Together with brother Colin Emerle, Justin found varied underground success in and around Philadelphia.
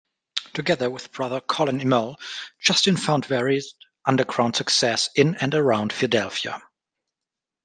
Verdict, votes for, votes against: rejected, 0, 2